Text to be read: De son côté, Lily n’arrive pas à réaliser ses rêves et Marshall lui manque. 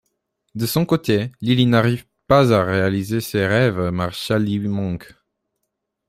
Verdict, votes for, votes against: rejected, 0, 2